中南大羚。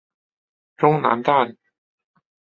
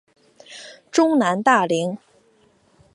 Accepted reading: second